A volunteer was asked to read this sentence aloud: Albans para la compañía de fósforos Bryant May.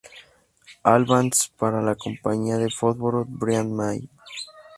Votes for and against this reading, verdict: 2, 0, accepted